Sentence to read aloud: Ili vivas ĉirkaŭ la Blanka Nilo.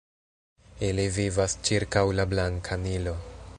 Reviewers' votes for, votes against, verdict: 1, 2, rejected